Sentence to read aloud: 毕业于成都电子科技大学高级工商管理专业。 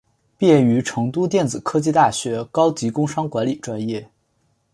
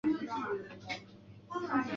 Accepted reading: first